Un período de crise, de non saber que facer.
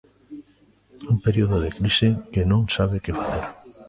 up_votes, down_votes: 0, 2